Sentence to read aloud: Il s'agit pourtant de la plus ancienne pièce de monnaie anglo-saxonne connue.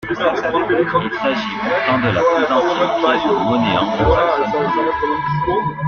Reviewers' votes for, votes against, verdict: 0, 2, rejected